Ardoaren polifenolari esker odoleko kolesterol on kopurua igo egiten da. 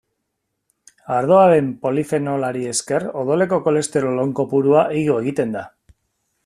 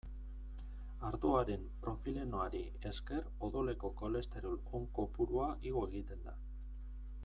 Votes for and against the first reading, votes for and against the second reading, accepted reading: 2, 0, 1, 2, first